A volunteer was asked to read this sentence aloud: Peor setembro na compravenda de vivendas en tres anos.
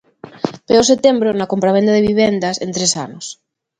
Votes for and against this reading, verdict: 2, 0, accepted